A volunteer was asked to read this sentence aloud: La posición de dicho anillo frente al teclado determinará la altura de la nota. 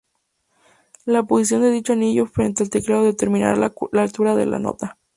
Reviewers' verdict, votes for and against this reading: rejected, 0, 2